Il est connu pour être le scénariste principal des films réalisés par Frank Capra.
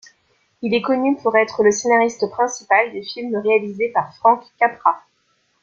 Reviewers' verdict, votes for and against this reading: accepted, 2, 0